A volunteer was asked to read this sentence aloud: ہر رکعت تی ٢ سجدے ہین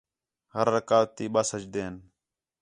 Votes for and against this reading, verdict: 0, 2, rejected